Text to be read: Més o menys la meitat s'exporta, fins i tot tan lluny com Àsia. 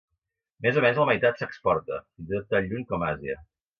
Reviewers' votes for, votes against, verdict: 0, 2, rejected